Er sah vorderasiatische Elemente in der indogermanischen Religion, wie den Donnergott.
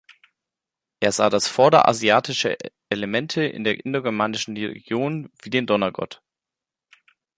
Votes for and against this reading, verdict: 0, 2, rejected